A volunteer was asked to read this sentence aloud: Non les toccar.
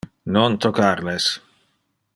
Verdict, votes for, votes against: rejected, 0, 2